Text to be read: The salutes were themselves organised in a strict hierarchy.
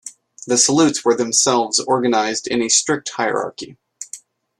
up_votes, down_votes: 2, 0